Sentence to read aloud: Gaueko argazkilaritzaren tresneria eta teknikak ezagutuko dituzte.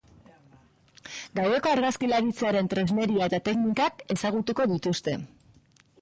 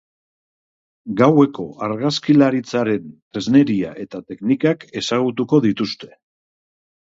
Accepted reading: second